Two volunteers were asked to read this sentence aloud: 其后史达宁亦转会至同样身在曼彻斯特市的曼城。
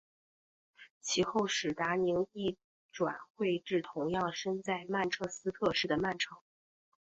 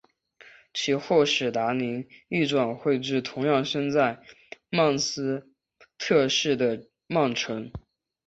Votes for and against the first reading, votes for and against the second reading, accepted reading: 3, 1, 2, 3, first